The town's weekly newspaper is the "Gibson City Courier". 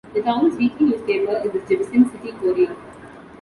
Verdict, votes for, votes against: accepted, 2, 0